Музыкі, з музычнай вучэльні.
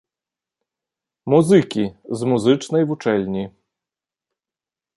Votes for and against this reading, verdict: 2, 0, accepted